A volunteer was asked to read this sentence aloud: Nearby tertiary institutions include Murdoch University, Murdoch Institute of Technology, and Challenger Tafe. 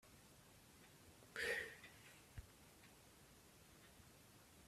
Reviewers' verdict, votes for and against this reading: rejected, 0, 2